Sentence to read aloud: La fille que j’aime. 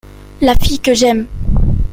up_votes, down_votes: 2, 0